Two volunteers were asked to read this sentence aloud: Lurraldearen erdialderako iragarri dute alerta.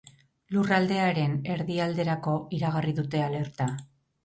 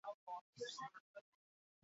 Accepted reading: first